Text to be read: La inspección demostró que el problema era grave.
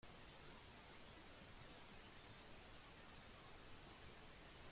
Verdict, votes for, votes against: rejected, 0, 2